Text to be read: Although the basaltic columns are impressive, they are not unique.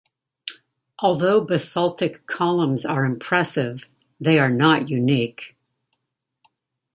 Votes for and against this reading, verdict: 1, 2, rejected